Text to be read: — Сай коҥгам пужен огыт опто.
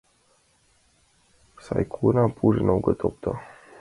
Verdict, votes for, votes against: accepted, 2, 1